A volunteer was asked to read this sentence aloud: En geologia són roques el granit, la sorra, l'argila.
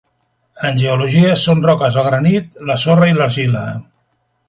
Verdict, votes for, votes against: rejected, 1, 2